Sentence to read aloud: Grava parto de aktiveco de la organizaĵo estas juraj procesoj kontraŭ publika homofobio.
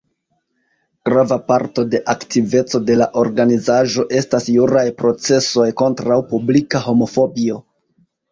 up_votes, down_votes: 0, 2